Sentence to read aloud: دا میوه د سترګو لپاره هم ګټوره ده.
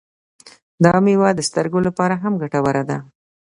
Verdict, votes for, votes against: accepted, 2, 0